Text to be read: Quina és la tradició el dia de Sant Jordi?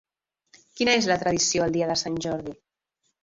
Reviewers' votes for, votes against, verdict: 2, 3, rejected